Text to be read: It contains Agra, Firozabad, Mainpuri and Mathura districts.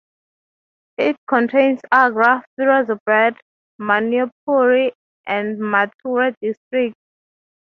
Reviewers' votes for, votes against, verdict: 3, 0, accepted